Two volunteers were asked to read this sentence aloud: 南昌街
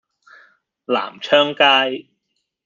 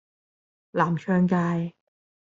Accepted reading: first